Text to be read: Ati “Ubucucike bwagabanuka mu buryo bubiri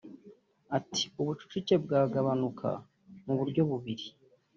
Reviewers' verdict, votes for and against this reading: accepted, 2, 1